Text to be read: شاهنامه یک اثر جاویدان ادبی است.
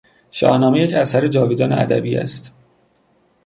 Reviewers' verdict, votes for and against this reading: accepted, 2, 0